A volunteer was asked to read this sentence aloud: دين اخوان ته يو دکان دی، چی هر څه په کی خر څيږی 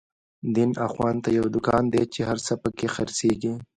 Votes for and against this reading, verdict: 1, 2, rejected